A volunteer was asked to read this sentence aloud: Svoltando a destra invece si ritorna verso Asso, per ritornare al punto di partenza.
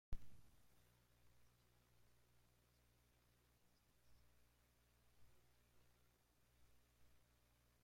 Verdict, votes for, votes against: rejected, 0, 2